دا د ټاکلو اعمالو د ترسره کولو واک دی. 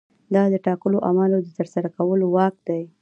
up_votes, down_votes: 2, 1